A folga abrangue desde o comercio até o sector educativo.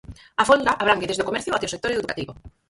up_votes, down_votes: 0, 6